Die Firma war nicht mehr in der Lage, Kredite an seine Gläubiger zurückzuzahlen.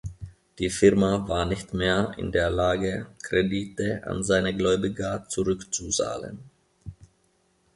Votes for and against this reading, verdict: 2, 0, accepted